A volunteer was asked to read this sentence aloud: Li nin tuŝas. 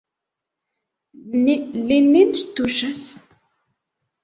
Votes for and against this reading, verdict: 0, 2, rejected